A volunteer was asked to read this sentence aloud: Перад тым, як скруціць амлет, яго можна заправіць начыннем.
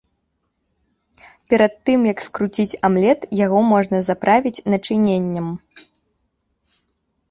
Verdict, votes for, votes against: rejected, 1, 3